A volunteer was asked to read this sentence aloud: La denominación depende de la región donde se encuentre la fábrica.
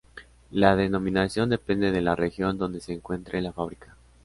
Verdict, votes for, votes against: accepted, 2, 1